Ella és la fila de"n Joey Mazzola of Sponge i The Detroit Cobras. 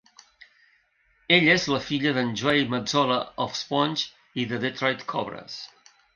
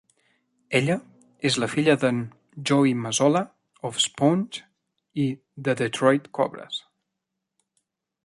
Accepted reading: second